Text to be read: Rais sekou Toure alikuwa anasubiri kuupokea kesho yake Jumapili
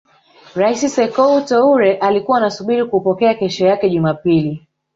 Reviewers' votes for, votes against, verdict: 2, 0, accepted